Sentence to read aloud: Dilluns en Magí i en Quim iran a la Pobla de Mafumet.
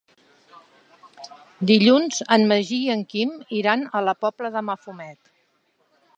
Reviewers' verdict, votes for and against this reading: accepted, 3, 0